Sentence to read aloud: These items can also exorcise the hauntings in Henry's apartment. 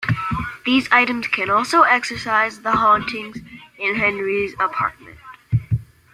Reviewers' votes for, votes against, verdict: 1, 2, rejected